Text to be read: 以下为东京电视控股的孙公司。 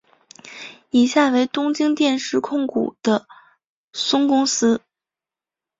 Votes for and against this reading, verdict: 3, 0, accepted